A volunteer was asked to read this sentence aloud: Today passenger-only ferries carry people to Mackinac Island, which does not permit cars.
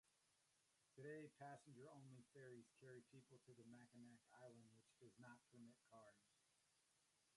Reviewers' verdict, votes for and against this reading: rejected, 0, 2